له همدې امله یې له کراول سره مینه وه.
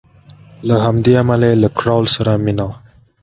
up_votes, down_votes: 2, 0